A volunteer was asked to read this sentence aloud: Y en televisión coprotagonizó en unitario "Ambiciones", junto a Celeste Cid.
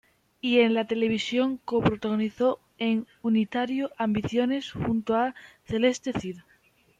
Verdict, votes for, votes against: rejected, 1, 2